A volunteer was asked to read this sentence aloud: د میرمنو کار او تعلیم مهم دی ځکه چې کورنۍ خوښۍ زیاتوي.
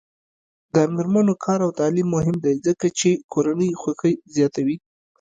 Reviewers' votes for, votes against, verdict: 1, 2, rejected